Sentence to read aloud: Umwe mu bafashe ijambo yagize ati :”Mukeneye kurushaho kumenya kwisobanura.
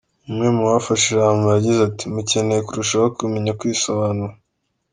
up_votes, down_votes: 2, 0